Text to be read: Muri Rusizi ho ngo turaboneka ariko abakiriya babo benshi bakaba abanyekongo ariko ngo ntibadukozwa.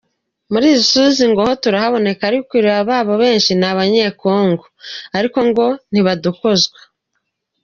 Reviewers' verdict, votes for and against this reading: rejected, 1, 2